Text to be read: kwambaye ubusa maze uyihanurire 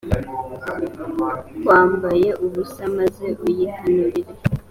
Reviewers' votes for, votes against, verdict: 3, 1, accepted